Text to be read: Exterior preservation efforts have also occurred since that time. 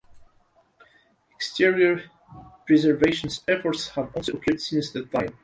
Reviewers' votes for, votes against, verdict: 0, 2, rejected